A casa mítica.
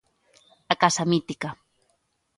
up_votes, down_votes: 2, 0